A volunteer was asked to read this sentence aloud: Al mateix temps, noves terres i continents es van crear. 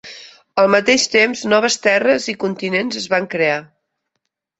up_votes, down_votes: 2, 0